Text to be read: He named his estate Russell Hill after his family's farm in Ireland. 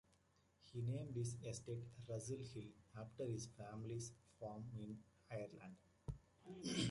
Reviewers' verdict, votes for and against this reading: accepted, 2, 1